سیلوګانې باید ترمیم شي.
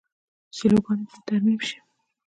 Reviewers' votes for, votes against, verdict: 2, 1, accepted